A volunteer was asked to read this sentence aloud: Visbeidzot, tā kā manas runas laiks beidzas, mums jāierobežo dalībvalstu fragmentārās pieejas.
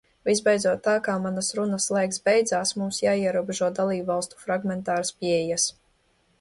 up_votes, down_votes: 0, 2